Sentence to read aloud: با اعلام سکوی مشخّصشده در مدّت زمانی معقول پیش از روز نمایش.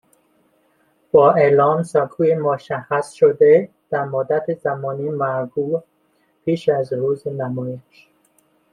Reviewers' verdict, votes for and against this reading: accepted, 2, 1